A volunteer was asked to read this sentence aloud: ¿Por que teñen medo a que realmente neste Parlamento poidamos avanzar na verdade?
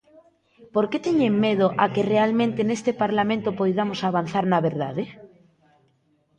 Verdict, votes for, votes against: accepted, 2, 1